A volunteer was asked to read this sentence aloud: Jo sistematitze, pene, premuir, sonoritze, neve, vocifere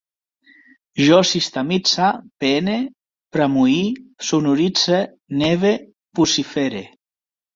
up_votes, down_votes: 0, 2